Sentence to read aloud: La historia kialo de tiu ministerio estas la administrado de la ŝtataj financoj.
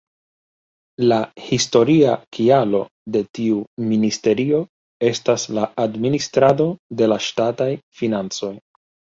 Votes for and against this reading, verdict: 0, 2, rejected